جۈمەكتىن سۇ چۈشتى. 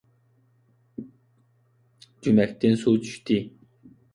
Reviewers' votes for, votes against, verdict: 2, 0, accepted